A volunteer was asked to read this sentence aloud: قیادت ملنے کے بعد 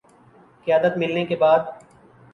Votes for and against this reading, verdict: 2, 1, accepted